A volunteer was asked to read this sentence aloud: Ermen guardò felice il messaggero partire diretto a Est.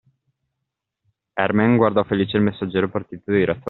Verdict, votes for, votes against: rejected, 0, 2